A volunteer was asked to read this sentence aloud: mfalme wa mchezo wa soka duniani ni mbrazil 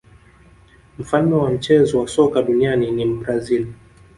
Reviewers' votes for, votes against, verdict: 2, 1, accepted